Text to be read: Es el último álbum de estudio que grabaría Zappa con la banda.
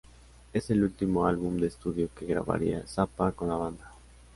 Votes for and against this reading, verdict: 2, 1, accepted